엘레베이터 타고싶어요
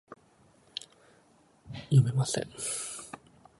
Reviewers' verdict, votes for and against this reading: rejected, 1, 2